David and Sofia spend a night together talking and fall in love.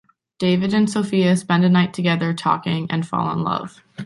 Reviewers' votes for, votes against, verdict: 2, 0, accepted